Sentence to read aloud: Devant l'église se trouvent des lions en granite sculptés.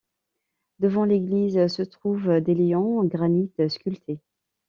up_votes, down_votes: 0, 2